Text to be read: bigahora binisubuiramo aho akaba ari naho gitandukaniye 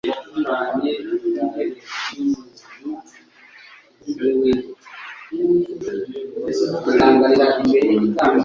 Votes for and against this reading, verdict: 0, 2, rejected